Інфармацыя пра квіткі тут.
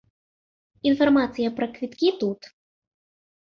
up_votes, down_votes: 2, 0